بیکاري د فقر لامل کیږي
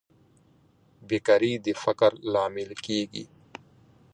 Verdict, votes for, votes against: rejected, 0, 2